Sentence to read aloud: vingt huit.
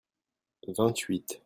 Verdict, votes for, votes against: accepted, 2, 0